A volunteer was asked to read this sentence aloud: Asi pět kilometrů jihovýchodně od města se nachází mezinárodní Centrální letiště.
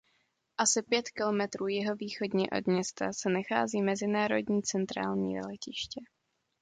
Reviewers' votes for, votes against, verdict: 2, 0, accepted